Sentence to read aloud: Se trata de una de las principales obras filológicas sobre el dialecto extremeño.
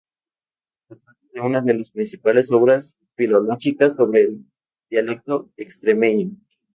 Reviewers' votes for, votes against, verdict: 0, 2, rejected